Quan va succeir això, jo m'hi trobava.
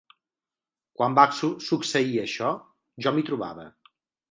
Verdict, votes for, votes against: rejected, 0, 3